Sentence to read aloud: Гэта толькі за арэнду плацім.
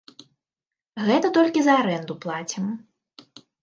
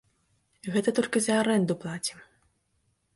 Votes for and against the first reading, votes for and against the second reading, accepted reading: 2, 1, 1, 2, first